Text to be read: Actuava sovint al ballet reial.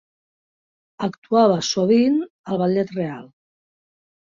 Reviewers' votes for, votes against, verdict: 1, 3, rejected